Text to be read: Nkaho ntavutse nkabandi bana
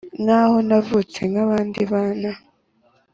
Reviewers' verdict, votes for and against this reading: accepted, 2, 0